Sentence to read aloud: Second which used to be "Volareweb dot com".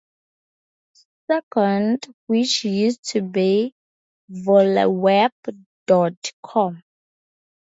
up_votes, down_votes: 2, 2